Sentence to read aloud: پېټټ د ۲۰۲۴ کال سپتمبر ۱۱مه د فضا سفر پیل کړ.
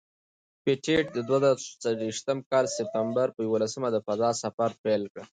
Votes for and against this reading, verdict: 0, 2, rejected